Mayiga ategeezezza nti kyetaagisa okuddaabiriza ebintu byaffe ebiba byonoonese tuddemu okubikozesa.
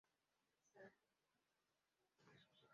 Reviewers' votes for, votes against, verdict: 0, 2, rejected